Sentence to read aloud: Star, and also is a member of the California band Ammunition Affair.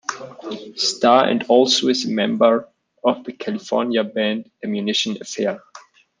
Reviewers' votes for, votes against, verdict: 1, 2, rejected